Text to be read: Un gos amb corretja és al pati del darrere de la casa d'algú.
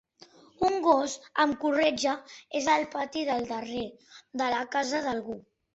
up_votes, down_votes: 2, 1